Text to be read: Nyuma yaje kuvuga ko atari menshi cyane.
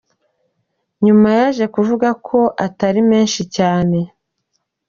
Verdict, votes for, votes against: accepted, 3, 0